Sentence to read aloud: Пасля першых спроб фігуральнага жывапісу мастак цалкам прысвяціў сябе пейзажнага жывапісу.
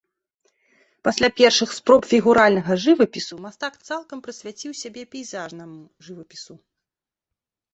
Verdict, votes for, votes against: rejected, 0, 2